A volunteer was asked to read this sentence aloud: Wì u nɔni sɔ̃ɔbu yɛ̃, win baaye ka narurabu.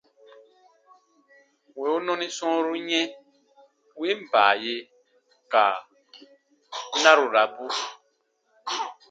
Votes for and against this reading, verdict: 2, 0, accepted